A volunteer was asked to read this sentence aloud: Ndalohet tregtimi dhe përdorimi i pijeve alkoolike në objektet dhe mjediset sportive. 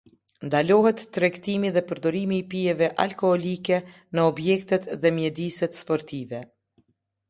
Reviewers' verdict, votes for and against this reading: accepted, 2, 0